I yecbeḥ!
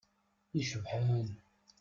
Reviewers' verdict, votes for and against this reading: rejected, 0, 2